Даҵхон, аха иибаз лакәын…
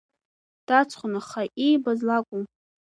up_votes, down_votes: 2, 1